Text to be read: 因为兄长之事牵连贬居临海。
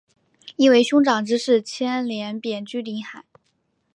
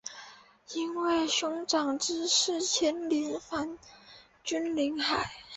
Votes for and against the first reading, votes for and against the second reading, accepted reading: 2, 0, 0, 2, first